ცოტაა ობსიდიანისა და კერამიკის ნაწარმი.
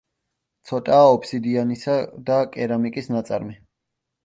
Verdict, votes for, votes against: accepted, 2, 0